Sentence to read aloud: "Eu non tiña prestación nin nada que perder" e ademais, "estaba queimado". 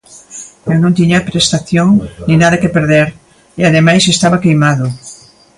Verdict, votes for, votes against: accepted, 2, 0